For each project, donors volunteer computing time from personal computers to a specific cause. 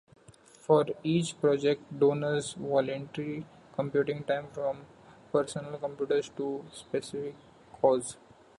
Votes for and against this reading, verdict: 0, 2, rejected